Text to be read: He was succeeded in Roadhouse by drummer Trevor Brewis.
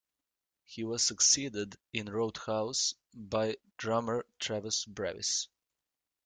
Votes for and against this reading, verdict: 0, 2, rejected